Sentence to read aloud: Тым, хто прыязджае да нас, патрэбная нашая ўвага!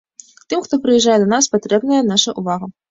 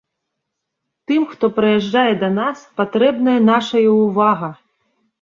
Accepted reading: second